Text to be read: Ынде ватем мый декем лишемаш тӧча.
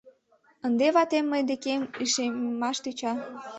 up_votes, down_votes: 1, 2